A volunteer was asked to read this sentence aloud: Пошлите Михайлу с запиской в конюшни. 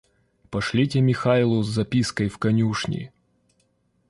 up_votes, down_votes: 1, 2